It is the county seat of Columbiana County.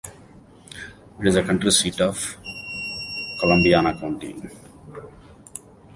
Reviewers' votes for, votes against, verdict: 2, 1, accepted